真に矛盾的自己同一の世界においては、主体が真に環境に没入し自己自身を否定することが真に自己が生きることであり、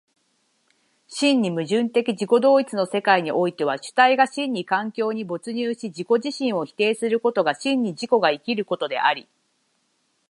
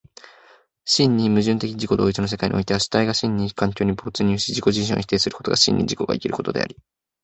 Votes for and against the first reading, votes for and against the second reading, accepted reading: 3, 6, 2, 1, second